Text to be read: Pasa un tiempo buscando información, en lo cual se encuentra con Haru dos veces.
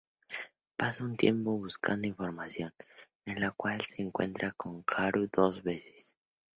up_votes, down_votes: 2, 0